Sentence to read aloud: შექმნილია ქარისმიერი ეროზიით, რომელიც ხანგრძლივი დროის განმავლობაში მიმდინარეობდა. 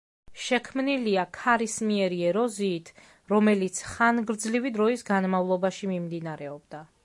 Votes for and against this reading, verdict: 2, 0, accepted